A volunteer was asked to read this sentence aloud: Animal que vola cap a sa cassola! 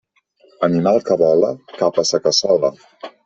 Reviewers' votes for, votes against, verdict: 2, 0, accepted